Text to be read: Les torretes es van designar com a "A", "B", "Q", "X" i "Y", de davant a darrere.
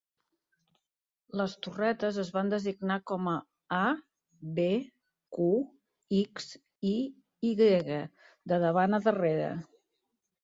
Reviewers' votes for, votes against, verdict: 2, 0, accepted